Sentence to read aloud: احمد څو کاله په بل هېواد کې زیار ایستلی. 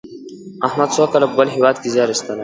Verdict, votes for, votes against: rejected, 1, 2